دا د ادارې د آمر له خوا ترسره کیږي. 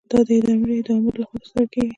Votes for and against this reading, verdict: 2, 1, accepted